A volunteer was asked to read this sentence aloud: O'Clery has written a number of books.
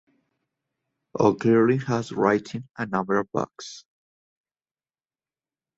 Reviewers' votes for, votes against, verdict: 1, 2, rejected